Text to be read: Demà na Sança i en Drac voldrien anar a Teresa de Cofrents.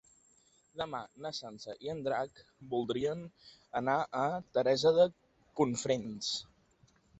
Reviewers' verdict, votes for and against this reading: rejected, 0, 2